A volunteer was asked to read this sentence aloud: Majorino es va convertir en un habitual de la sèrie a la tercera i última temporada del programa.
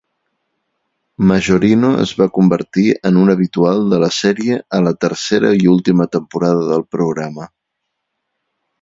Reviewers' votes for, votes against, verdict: 2, 0, accepted